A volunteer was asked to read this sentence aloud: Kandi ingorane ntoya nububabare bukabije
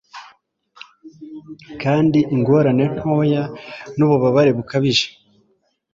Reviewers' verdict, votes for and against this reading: accepted, 2, 0